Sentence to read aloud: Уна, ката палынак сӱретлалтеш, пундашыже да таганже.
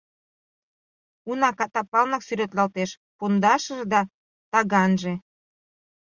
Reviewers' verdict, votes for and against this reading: accepted, 3, 0